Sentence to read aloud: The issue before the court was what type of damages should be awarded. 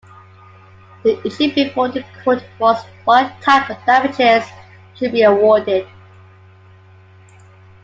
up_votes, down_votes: 2, 0